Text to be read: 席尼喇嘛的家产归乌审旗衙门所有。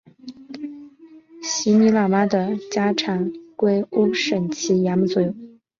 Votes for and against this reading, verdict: 5, 2, accepted